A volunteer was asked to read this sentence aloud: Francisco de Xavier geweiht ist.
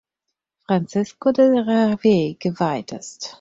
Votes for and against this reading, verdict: 2, 4, rejected